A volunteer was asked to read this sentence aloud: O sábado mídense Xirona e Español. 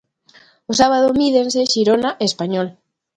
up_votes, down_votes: 2, 0